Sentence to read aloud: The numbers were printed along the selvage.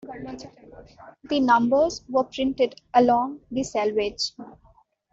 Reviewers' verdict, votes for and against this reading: accepted, 2, 1